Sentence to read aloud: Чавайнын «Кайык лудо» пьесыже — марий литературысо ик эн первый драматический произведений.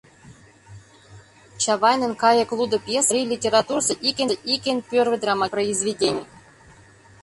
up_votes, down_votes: 0, 2